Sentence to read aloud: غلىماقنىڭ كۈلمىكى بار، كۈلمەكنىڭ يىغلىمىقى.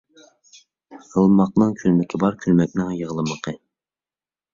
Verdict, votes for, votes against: accepted, 2, 1